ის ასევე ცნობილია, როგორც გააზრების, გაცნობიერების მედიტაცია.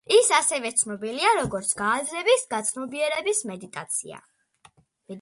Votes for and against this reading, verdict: 2, 0, accepted